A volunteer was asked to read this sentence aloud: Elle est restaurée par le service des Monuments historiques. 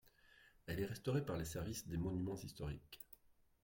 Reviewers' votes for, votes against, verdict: 2, 1, accepted